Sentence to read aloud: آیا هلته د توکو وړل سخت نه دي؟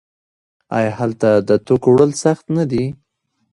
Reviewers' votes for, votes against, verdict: 1, 2, rejected